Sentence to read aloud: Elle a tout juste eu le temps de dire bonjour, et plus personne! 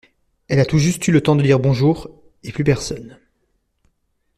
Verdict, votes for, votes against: accepted, 2, 0